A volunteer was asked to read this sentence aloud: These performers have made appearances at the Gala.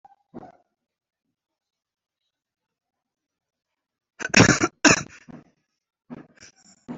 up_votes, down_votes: 0, 2